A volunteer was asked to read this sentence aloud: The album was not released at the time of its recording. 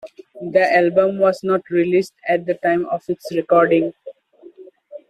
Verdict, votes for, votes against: accepted, 2, 0